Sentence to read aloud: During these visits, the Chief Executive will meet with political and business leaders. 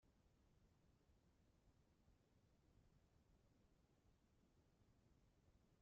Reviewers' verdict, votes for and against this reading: rejected, 0, 3